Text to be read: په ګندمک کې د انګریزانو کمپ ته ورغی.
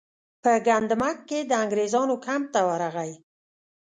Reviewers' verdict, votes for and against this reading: rejected, 0, 2